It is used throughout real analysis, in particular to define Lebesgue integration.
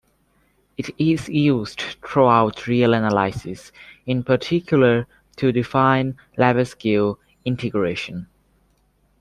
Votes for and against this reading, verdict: 0, 2, rejected